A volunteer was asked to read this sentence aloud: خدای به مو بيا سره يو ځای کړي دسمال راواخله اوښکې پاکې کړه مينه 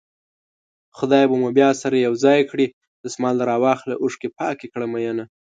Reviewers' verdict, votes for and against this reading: accepted, 2, 0